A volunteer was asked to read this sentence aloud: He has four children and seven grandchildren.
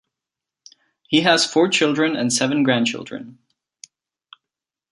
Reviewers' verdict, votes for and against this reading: accepted, 2, 0